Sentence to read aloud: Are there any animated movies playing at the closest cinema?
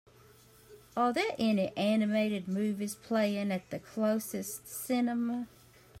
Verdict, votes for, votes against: accepted, 2, 0